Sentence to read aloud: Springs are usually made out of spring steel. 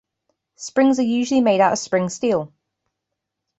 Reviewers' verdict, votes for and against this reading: accepted, 2, 0